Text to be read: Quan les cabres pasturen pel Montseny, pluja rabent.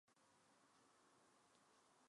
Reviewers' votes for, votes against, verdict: 0, 3, rejected